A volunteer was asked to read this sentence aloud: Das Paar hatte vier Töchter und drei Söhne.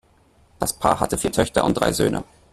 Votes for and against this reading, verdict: 1, 2, rejected